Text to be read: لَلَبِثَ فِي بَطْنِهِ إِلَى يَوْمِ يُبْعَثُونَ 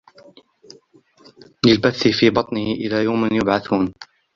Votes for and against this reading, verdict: 1, 2, rejected